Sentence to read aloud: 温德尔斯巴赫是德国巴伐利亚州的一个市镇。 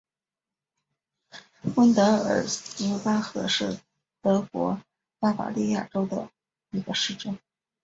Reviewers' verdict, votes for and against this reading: accepted, 2, 0